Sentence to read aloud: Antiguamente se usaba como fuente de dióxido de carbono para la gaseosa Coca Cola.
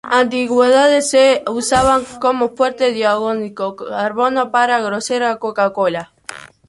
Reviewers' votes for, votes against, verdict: 1, 3, rejected